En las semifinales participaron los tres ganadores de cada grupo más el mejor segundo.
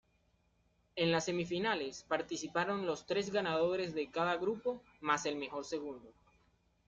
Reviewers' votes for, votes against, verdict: 2, 0, accepted